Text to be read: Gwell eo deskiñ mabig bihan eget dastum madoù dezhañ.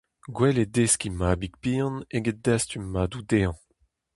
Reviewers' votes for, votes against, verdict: 4, 0, accepted